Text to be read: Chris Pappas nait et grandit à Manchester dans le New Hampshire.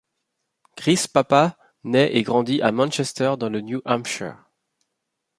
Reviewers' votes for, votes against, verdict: 1, 2, rejected